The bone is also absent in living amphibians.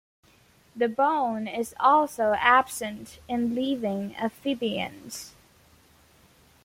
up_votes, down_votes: 2, 0